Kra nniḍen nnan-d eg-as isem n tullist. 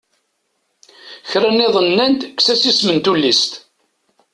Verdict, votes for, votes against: rejected, 1, 2